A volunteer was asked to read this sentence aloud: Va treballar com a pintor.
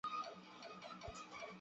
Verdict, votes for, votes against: rejected, 0, 2